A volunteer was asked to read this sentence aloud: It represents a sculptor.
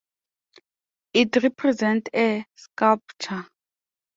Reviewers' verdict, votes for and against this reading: rejected, 1, 4